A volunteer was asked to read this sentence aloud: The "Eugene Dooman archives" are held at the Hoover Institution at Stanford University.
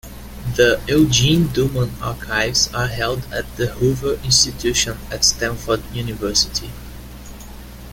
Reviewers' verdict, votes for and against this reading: accepted, 2, 1